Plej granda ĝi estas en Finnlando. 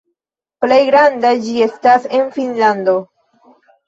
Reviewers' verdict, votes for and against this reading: accepted, 2, 0